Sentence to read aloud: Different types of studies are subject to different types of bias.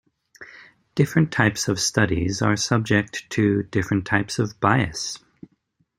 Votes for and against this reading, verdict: 2, 0, accepted